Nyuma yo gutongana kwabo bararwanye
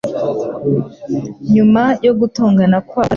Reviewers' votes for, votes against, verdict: 1, 2, rejected